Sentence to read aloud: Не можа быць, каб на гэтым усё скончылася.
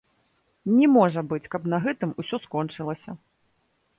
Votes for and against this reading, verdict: 1, 2, rejected